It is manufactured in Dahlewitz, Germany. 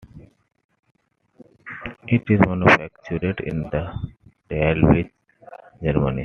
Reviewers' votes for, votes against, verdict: 2, 1, accepted